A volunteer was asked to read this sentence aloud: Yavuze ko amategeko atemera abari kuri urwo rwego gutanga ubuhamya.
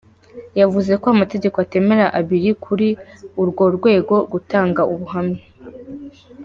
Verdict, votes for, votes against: rejected, 1, 2